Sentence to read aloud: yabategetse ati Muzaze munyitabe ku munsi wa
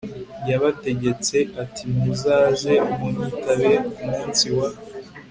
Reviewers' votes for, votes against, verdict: 3, 0, accepted